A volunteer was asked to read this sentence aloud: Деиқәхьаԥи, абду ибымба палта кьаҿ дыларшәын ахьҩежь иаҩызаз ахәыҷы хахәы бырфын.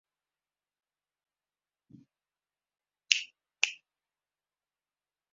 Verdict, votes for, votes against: rejected, 0, 2